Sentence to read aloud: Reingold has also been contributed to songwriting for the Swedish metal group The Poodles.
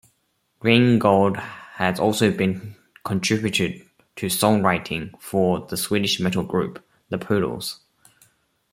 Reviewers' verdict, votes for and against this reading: rejected, 1, 2